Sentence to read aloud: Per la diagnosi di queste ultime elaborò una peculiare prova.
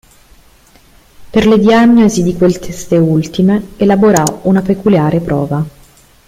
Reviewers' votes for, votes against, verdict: 0, 3, rejected